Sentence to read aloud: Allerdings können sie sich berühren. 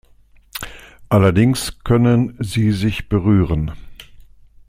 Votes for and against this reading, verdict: 2, 0, accepted